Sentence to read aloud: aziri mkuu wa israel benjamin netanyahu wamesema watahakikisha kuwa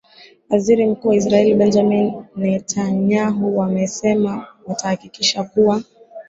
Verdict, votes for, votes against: accepted, 4, 1